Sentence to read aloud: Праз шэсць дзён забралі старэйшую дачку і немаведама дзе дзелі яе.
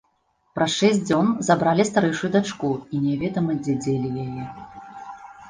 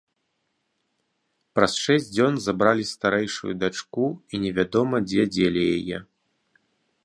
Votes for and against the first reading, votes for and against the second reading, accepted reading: 0, 2, 4, 0, second